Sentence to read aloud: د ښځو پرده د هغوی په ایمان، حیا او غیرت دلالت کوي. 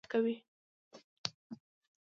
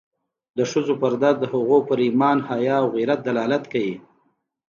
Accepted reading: second